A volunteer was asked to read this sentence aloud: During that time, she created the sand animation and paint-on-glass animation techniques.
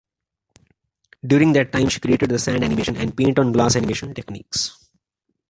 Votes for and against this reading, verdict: 2, 1, accepted